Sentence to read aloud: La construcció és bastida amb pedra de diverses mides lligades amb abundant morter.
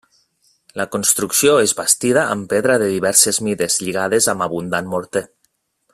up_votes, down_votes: 3, 0